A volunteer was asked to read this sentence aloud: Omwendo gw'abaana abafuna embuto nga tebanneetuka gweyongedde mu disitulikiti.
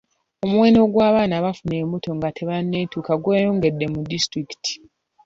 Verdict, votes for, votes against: accepted, 2, 0